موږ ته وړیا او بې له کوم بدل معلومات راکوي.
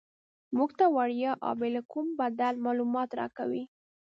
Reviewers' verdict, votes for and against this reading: accepted, 3, 0